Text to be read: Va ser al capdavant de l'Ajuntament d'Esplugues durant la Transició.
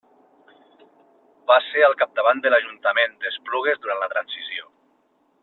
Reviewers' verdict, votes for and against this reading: accepted, 2, 0